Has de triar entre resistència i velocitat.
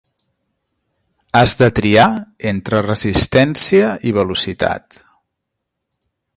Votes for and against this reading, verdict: 3, 0, accepted